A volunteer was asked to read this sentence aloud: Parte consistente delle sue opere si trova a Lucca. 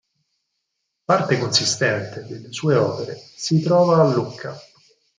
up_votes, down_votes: 4, 0